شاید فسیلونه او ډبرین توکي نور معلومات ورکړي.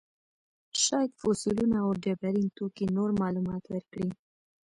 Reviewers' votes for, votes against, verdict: 0, 2, rejected